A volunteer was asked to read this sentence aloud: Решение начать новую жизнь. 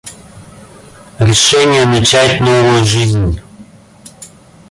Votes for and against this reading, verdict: 0, 2, rejected